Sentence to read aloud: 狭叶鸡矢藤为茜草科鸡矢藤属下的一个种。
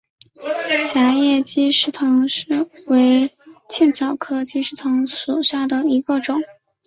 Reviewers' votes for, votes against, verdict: 2, 1, accepted